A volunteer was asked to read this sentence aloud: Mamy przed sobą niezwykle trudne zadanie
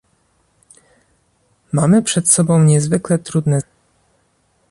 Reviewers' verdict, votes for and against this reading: rejected, 1, 2